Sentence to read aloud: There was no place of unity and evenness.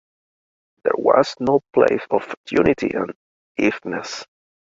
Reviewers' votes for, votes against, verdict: 1, 2, rejected